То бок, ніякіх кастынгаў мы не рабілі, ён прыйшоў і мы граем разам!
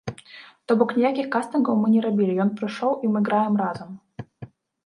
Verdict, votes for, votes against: rejected, 1, 2